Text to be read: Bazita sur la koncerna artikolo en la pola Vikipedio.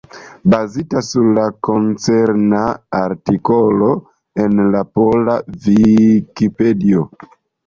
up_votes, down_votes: 1, 2